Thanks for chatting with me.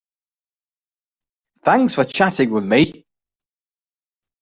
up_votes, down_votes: 2, 0